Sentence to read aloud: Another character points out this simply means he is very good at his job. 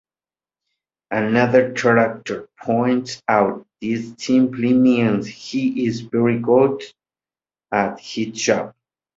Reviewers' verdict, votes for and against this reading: accepted, 2, 0